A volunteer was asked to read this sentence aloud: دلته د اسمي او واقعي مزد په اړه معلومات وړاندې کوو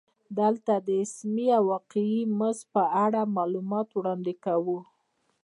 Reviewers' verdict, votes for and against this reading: rejected, 1, 2